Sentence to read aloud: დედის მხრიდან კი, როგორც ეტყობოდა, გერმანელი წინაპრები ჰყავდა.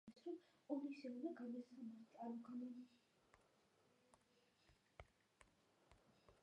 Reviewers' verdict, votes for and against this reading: rejected, 0, 2